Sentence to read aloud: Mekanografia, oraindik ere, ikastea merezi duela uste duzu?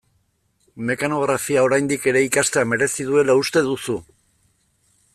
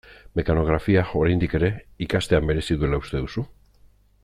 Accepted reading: first